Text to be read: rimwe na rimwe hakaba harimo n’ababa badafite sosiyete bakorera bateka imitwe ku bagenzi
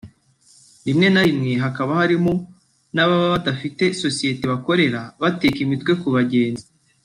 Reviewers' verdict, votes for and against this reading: accepted, 2, 0